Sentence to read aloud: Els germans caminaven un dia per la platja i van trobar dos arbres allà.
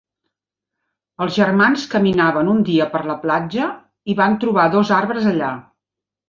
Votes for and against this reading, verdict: 4, 0, accepted